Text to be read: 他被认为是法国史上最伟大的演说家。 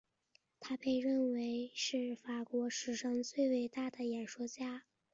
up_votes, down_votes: 1, 2